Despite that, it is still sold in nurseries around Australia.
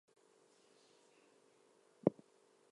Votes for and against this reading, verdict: 0, 4, rejected